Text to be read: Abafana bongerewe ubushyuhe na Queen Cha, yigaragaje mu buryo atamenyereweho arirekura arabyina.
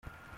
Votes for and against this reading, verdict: 0, 2, rejected